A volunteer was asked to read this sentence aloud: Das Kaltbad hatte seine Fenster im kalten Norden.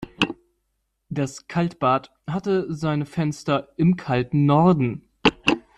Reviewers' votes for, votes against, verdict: 2, 0, accepted